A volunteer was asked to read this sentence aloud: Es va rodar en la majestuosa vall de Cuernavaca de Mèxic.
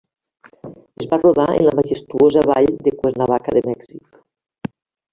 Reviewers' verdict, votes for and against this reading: rejected, 0, 2